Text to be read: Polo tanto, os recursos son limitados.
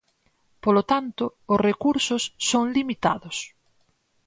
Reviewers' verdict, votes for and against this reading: accepted, 4, 0